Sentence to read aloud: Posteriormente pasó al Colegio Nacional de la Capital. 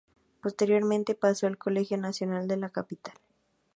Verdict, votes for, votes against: accepted, 2, 0